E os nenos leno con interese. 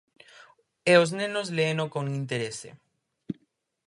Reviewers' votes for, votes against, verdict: 0, 4, rejected